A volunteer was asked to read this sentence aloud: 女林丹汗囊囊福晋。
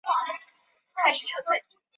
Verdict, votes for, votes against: rejected, 0, 2